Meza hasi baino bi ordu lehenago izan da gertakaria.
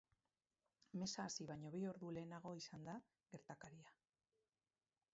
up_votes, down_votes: 2, 2